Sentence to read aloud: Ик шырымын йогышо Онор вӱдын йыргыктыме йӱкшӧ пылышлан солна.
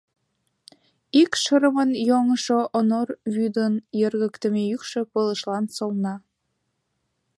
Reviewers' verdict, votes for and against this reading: rejected, 1, 2